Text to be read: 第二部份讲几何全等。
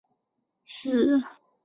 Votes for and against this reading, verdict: 0, 2, rejected